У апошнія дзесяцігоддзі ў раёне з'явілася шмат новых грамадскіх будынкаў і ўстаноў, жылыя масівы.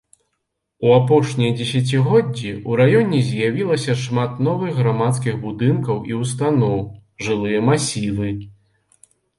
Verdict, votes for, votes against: accepted, 2, 0